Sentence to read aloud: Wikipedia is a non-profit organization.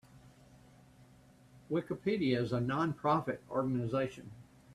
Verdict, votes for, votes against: accepted, 2, 0